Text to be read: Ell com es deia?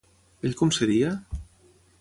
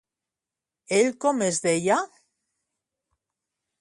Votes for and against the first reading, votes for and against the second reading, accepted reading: 0, 3, 2, 0, second